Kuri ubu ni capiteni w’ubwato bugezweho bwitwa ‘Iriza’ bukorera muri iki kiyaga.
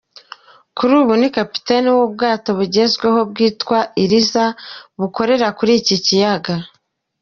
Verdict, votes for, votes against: rejected, 1, 2